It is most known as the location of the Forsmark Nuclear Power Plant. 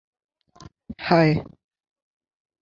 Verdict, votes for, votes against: rejected, 0, 2